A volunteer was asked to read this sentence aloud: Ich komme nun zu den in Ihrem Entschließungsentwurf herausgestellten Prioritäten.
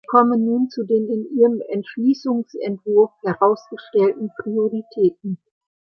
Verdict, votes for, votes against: rejected, 0, 2